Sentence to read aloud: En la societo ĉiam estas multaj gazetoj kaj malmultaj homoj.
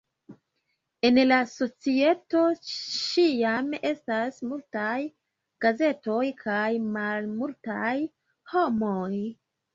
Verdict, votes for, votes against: rejected, 0, 2